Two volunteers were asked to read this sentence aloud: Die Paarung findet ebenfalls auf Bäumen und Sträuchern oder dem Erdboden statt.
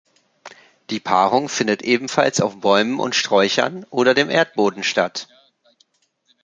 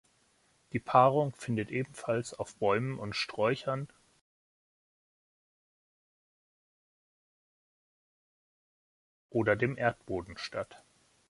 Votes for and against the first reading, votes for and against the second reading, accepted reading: 2, 0, 1, 2, first